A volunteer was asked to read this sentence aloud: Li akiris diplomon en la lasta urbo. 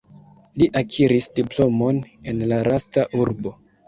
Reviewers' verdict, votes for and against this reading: rejected, 0, 2